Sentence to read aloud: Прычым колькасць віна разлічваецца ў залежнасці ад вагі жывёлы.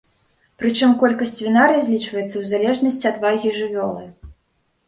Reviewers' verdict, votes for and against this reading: rejected, 1, 2